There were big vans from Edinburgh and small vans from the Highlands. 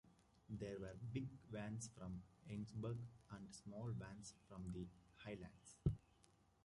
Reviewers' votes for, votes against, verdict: 0, 2, rejected